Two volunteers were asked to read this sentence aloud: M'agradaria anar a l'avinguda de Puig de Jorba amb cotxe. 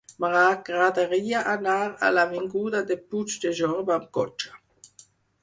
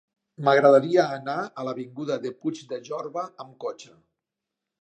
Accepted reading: second